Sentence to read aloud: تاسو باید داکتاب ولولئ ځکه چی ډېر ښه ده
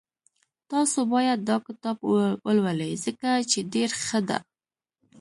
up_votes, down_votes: 1, 2